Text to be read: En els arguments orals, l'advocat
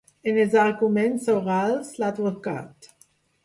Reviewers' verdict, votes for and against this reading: rejected, 0, 2